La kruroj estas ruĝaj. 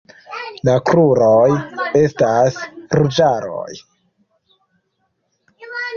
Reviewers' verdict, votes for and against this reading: rejected, 0, 2